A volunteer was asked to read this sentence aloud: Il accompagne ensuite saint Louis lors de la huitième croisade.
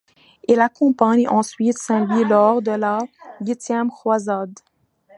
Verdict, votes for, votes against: accepted, 2, 1